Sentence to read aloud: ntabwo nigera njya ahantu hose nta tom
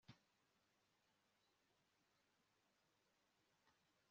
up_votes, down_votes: 1, 2